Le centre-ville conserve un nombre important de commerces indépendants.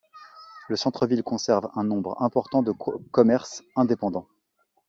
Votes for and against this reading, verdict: 1, 3, rejected